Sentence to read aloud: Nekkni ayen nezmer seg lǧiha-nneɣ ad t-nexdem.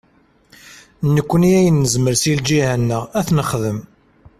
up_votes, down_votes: 2, 0